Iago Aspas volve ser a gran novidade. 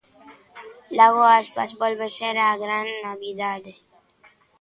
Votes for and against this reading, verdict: 1, 2, rejected